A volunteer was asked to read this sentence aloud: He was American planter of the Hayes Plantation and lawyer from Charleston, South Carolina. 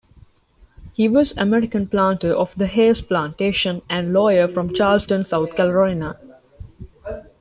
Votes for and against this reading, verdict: 0, 2, rejected